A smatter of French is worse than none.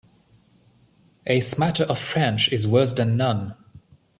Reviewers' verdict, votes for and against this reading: accepted, 2, 0